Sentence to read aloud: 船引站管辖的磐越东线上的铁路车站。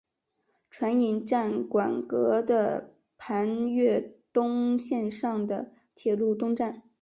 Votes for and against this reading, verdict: 1, 3, rejected